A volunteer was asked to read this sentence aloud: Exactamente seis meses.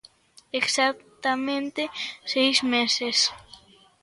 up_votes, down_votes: 2, 0